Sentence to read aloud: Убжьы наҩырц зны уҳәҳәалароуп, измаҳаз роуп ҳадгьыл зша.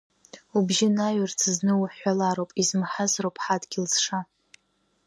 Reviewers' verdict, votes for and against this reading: rejected, 1, 2